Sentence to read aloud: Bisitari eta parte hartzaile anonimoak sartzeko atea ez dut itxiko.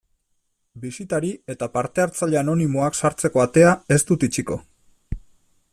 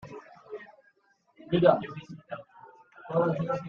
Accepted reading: first